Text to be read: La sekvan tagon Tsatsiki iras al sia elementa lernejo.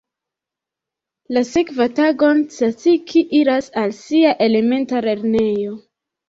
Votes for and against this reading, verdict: 1, 3, rejected